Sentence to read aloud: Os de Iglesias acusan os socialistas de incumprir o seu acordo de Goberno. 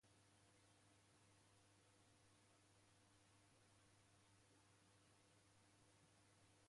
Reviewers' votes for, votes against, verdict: 0, 2, rejected